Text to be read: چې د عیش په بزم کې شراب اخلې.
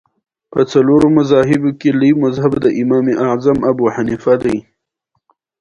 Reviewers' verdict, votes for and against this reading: accepted, 2, 1